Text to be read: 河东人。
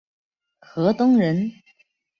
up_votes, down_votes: 2, 0